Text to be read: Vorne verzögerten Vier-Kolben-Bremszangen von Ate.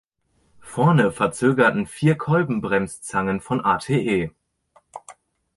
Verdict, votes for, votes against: rejected, 1, 2